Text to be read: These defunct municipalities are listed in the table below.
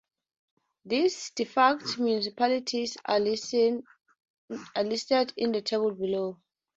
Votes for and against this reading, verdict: 0, 4, rejected